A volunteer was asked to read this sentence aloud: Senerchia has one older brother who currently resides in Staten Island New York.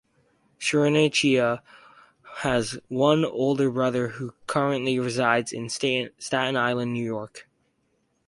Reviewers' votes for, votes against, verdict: 2, 2, rejected